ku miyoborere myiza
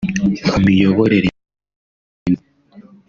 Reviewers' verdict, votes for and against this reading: rejected, 0, 2